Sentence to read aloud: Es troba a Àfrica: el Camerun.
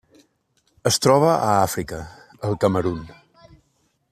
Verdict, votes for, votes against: accepted, 2, 0